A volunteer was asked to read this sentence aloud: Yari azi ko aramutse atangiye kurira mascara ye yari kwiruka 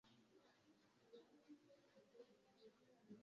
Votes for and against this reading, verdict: 0, 2, rejected